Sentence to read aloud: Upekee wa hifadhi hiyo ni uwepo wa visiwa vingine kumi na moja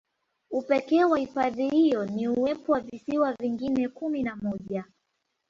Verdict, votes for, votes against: rejected, 2, 3